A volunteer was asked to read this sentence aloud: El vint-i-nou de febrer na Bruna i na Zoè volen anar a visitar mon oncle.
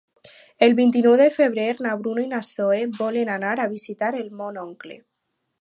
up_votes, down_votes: 0, 4